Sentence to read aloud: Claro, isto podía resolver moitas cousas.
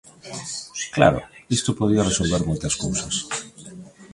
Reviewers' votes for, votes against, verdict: 2, 0, accepted